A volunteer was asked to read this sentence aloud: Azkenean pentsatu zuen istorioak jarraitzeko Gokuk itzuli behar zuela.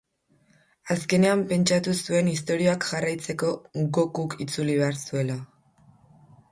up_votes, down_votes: 2, 0